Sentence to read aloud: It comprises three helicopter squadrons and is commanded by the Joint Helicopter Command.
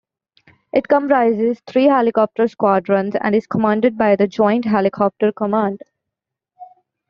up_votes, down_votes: 2, 0